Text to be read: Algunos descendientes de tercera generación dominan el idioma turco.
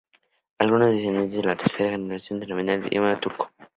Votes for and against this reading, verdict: 0, 4, rejected